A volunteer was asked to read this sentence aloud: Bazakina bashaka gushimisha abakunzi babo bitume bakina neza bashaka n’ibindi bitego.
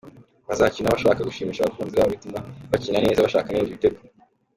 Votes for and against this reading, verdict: 1, 3, rejected